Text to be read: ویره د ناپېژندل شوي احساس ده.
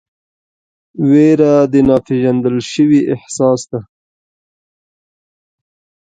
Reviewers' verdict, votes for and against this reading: accepted, 2, 0